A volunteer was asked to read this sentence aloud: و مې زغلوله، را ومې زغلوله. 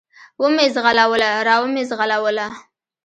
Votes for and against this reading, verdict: 2, 1, accepted